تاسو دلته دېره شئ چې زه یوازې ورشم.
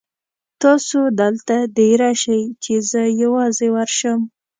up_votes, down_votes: 2, 0